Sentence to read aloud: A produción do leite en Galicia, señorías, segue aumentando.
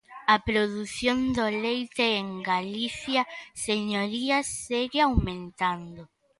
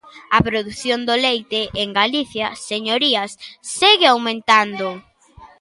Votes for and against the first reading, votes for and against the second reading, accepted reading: 2, 0, 1, 2, first